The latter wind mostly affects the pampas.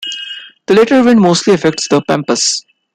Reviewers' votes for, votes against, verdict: 2, 0, accepted